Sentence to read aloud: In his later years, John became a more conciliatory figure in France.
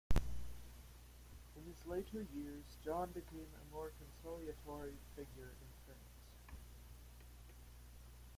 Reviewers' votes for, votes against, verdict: 0, 2, rejected